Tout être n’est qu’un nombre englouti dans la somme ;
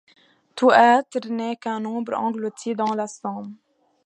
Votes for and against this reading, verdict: 2, 0, accepted